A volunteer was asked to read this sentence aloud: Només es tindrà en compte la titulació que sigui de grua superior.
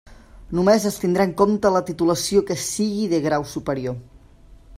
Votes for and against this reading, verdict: 0, 2, rejected